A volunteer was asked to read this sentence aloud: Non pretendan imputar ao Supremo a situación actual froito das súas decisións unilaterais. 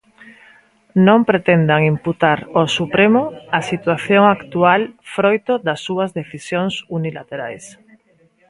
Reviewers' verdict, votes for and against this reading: accepted, 2, 0